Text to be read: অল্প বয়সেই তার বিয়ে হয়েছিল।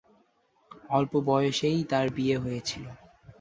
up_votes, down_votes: 2, 0